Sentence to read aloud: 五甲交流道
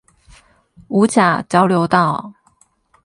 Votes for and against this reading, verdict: 8, 0, accepted